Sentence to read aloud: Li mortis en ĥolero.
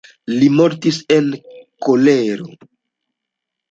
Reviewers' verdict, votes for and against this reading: rejected, 1, 2